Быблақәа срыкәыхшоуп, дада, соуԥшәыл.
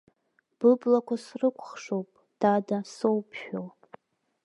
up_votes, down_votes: 1, 2